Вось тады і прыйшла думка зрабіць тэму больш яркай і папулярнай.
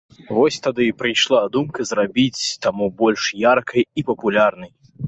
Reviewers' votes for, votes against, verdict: 1, 2, rejected